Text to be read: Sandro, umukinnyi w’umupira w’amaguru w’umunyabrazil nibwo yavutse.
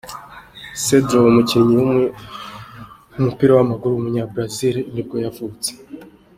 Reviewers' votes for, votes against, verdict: 2, 1, accepted